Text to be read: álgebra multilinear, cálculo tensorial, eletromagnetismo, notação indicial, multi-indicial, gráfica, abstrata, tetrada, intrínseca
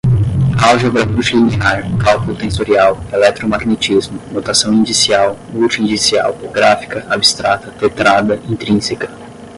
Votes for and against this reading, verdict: 0, 10, rejected